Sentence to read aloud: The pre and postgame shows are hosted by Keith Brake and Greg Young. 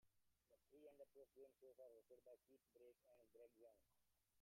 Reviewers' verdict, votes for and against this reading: rejected, 0, 2